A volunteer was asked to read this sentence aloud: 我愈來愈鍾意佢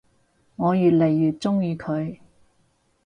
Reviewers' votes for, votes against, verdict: 2, 2, rejected